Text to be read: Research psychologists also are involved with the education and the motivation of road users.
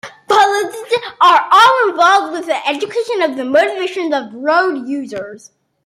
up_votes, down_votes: 0, 2